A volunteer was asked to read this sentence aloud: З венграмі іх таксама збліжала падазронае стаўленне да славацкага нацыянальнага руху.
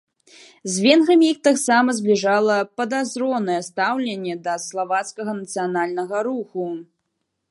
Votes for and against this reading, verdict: 2, 0, accepted